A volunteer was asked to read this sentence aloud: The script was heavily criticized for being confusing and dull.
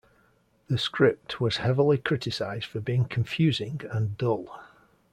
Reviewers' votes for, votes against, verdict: 2, 0, accepted